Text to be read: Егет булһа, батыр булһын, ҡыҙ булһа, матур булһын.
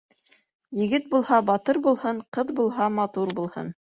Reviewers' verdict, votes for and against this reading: accepted, 2, 0